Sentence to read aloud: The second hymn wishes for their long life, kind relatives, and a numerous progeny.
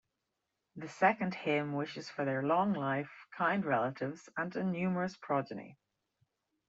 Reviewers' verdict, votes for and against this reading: accepted, 2, 0